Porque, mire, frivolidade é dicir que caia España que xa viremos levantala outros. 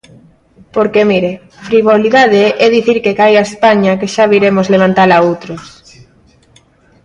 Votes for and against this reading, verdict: 2, 0, accepted